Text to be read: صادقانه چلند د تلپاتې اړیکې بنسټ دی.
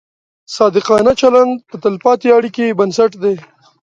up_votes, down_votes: 2, 0